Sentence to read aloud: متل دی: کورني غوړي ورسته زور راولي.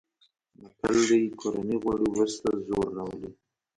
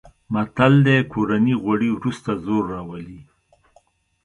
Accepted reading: second